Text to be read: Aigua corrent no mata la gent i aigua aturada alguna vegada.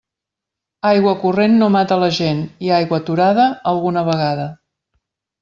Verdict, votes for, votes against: accepted, 3, 0